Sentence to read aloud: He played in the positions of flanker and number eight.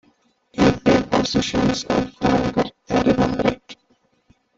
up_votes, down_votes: 0, 3